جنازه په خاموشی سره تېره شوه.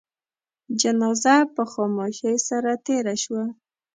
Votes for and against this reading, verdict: 2, 0, accepted